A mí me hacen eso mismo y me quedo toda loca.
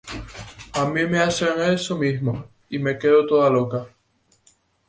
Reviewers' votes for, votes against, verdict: 2, 0, accepted